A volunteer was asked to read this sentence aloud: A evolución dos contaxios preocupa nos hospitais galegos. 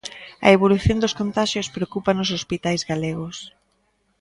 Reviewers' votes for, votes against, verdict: 2, 0, accepted